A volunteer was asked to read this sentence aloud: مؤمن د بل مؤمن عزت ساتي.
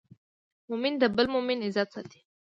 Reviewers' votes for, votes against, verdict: 2, 0, accepted